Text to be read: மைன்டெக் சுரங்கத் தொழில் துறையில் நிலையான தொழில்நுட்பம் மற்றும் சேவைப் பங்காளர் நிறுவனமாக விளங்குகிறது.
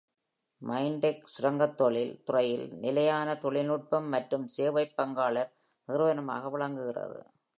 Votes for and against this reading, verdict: 2, 0, accepted